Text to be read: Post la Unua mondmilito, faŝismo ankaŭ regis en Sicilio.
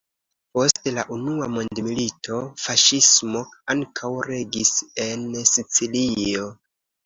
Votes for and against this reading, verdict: 1, 2, rejected